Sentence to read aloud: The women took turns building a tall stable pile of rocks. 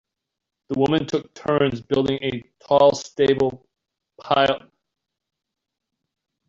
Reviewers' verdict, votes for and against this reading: rejected, 0, 2